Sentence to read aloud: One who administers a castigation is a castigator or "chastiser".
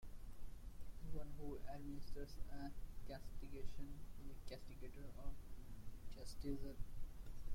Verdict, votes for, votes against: rejected, 0, 2